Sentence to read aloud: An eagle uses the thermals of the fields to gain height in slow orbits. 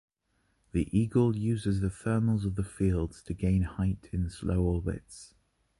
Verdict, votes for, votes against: rejected, 1, 2